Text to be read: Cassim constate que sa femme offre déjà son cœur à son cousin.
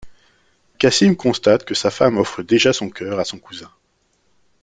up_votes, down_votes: 2, 0